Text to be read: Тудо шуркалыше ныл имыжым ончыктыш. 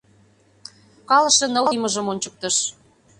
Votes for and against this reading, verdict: 0, 2, rejected